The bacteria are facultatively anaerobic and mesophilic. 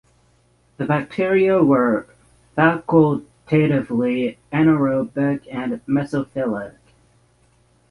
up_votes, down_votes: 0, 3